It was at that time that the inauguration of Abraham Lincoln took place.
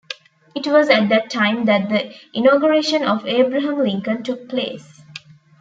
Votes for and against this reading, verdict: 2, 0, accepted